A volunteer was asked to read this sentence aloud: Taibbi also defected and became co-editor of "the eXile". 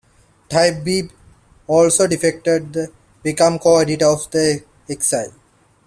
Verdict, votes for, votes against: rejected, 1, 2